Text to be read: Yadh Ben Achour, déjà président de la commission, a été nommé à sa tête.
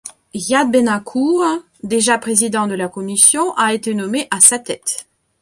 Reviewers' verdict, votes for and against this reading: accepted, 3, 2